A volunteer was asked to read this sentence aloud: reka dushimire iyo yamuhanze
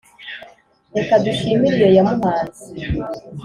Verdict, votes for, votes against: accepted, 3, 0